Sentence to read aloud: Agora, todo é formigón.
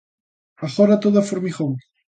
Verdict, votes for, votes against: accepted, 2, 0